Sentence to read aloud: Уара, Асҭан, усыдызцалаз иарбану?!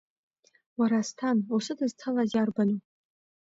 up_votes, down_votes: 2, 0